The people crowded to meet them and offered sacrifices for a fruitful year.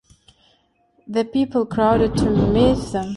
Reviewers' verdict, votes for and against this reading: rejected, 0, 2